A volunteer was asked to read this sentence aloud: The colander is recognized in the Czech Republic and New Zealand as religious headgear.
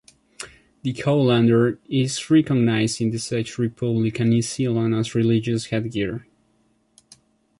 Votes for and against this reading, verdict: 1, 2, rejected